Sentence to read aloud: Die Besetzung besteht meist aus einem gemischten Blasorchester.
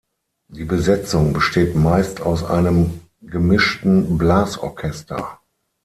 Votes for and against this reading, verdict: 6, 0, accepted